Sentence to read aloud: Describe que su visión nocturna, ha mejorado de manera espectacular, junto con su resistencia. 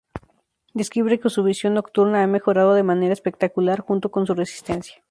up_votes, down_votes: 2, 2